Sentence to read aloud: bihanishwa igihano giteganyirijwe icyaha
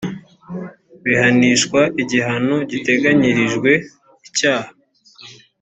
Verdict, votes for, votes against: accepted, 2, 0